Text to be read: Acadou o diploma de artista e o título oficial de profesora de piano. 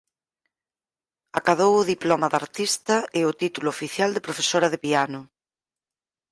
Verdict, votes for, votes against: accepted, 4, 0